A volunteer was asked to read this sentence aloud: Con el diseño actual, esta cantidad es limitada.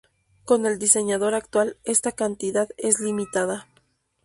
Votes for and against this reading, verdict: 0, 2, rejected